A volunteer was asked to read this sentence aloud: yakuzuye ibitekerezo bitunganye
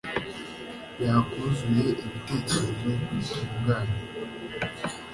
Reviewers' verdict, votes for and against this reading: accepted, 2, 0